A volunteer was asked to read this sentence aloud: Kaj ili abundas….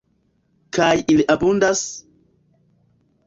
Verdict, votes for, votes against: accepted, 2, 0